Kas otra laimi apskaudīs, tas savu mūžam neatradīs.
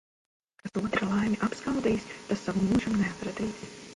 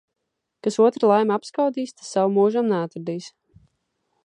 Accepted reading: second